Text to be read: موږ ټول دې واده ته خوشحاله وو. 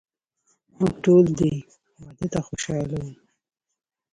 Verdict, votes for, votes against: rejected, 0, 2